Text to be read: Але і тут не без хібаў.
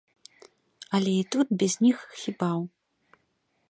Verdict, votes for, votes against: rejected, 0, 2